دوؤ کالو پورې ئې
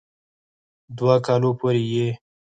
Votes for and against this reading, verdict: 4, 2, accepted